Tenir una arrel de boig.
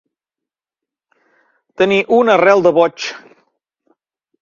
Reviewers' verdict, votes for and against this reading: accepted, 2, 0